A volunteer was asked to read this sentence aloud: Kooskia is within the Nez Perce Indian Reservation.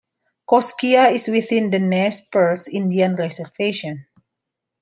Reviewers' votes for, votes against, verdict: 2, 0, accepted